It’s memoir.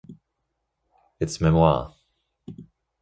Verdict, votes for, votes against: rejected, 0, 2